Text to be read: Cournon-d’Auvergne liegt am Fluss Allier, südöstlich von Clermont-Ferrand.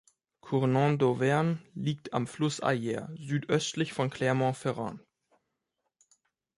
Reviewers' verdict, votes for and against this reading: rejected, 0, 2